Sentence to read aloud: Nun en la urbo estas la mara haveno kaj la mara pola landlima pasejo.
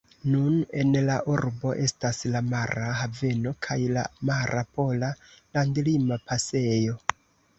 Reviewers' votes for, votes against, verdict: 2, 0, accepted